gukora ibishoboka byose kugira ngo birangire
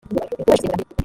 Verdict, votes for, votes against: rejected, 1, 2